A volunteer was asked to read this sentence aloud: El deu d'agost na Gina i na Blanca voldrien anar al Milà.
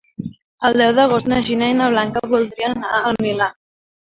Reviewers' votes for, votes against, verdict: 3, 0, accepted